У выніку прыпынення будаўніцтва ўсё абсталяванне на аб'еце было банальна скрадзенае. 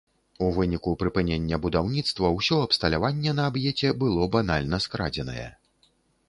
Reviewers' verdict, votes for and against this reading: accepted, 2, 0